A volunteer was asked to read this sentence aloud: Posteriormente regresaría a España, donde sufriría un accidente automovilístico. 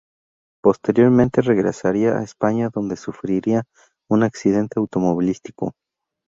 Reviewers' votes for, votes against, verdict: 2, 0, accepted